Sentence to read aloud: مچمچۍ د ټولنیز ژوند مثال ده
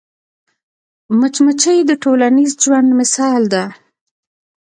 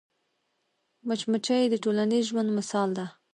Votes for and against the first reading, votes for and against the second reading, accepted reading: 1, 2, 2, 0, second